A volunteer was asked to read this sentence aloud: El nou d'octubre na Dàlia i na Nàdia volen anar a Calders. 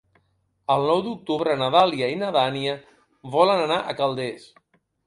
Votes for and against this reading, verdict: 1, 3, rejected